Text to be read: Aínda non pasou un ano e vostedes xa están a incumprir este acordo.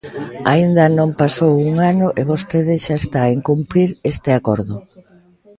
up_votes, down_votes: 0, 2